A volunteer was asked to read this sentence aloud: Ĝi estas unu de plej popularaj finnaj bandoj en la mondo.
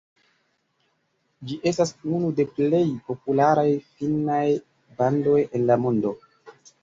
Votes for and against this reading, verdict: 1, 3, rejected